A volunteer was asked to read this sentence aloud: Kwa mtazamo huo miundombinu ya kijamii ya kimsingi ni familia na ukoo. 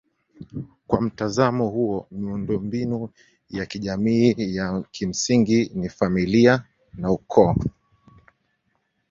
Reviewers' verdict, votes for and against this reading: accepted, 2, 0